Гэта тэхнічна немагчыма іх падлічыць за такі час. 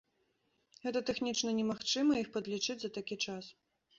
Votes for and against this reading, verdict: 2, 0, accepted